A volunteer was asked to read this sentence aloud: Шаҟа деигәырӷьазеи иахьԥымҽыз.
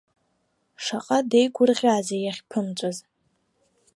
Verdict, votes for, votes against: rejected, 1, 2